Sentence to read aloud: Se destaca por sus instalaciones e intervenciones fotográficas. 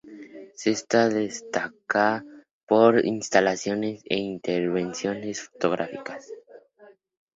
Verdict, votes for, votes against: rejected, 0, 2